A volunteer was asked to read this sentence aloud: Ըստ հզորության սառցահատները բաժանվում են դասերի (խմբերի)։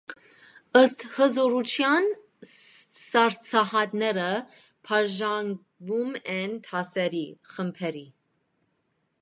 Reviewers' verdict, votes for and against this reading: rejected, 0, 2